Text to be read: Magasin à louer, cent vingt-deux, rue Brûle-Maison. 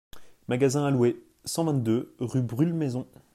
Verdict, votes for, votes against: accepted, 2, 0